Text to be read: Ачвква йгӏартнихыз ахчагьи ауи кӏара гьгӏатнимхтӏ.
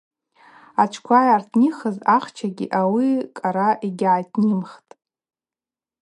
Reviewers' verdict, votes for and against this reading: rejected, 2, 2